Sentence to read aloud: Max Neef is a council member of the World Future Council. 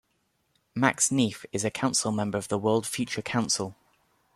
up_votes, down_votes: 2, 0